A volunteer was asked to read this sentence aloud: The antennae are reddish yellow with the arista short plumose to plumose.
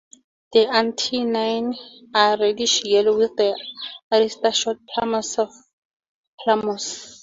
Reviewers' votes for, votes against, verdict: 0, 2, rejected